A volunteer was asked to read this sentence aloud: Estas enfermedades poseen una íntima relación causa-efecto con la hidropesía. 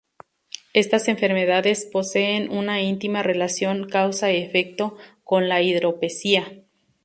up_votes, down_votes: 2, 0